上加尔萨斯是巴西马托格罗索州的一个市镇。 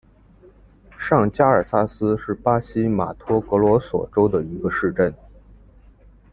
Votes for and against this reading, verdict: 2, 0, accepted